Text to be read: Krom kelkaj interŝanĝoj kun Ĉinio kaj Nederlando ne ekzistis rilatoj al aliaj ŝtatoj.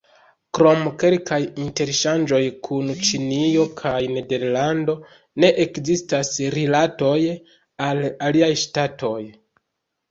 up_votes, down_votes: 0, 2